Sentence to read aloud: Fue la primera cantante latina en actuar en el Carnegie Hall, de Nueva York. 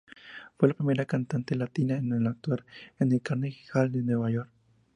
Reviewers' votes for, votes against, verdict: 4, 0, accepted